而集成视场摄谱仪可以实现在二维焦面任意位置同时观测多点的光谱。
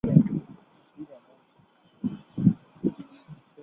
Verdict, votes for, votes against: rejected, 0, 2